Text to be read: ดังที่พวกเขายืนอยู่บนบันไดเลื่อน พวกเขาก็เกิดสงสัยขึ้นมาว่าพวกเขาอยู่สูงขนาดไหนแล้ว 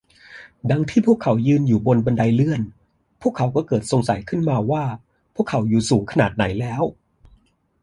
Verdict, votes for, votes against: accepted, 2, 0